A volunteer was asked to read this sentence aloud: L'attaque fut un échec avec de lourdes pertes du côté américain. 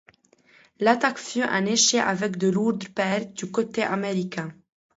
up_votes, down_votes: 2, 0